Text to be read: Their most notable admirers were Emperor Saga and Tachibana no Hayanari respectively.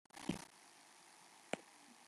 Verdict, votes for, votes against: rejected, 0, 2